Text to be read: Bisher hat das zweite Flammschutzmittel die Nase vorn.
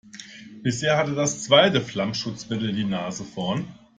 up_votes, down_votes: 0, 2